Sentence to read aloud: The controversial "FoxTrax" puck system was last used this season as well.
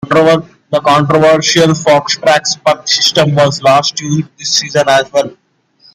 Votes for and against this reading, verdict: 0, 2, rejected